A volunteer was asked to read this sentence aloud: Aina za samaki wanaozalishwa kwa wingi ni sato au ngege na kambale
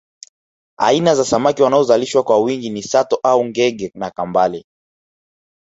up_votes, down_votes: 2, 0